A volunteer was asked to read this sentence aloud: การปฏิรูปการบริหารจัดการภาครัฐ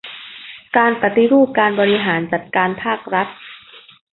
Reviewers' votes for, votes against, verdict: 2, 0, accepted